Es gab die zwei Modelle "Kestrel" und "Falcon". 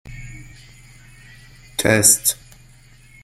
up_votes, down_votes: 0, 2